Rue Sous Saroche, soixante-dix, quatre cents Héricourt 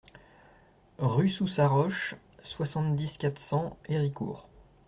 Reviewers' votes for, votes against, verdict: 2, 0, accepted